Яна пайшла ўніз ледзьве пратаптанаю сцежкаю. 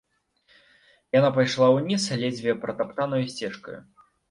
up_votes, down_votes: 2, 0